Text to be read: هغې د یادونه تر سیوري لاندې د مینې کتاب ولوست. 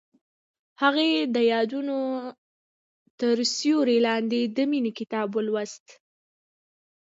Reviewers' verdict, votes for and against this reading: rejected, 1, 2